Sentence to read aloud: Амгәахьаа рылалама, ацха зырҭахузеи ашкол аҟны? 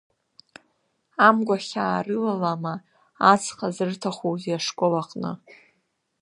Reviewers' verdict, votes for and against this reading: accepted, 2, 0